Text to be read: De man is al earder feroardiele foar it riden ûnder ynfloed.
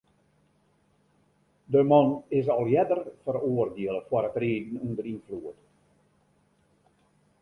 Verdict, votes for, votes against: accepted, 2, 0